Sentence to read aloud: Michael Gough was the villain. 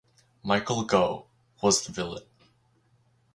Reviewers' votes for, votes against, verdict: 4, 0, accepted